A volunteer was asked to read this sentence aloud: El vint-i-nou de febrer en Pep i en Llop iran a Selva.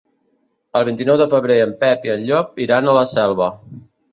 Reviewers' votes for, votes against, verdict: 2, 3, rejected